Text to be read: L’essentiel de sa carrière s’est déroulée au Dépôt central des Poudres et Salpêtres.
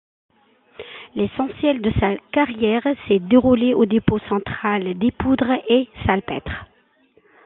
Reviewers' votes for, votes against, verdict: 2, 0, accepted